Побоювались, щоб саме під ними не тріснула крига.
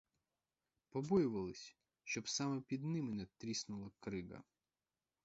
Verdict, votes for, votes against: rejected, 2, 4